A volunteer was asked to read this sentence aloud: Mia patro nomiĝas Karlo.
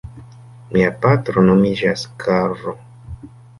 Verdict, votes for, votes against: rejected, 1, 2